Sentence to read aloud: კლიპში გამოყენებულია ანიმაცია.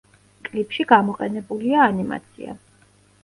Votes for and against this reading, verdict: 2, 0, accepted